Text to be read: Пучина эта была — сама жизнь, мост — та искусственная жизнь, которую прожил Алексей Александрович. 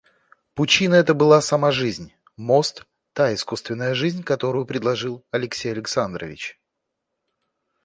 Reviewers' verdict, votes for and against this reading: rejected, 1, 2